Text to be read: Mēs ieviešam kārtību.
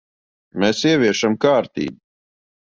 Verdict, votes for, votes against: rejected, 0, 2